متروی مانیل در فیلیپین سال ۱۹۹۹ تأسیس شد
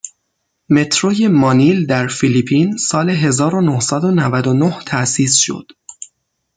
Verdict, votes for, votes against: rejected, 0, 2